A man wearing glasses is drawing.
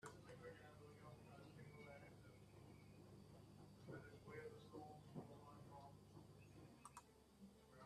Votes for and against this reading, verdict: 0, 2, rejected